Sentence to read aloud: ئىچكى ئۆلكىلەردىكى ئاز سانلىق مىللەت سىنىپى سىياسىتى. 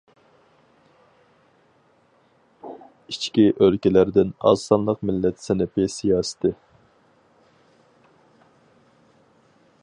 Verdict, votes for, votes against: rejected, 2, 2